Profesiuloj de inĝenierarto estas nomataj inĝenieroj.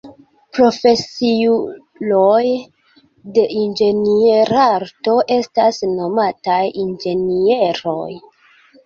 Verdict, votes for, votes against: accepted, 2, 0